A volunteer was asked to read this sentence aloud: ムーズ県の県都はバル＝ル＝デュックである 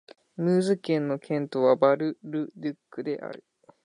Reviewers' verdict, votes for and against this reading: accepted, 2, 0